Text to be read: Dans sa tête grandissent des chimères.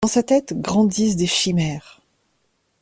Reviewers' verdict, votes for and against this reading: accepted, 2, 0